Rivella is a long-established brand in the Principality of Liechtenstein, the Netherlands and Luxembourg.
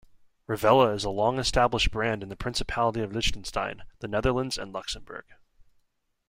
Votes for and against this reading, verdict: 1, 2, rejected